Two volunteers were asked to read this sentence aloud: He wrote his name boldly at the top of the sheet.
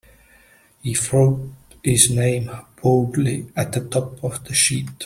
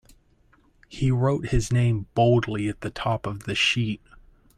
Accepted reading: second